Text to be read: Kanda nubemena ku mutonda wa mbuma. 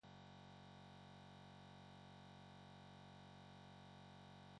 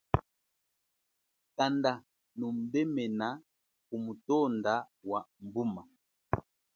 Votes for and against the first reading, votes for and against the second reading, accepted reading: 1, 2, 2, 0, second